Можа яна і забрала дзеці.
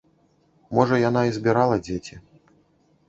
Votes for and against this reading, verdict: 0, 2, rejected